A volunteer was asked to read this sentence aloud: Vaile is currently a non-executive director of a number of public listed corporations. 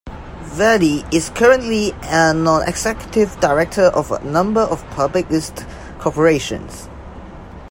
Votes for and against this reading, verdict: 0, 2, rejected